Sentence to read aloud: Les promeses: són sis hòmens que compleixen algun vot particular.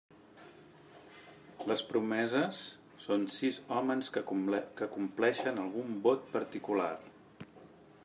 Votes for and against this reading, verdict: 1, 2, rejected